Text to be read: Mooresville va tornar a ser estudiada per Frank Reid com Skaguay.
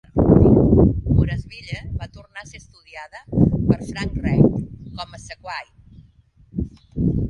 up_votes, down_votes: 0, 2